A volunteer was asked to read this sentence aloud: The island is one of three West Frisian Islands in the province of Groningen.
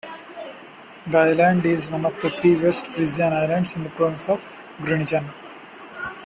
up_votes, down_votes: 2, 0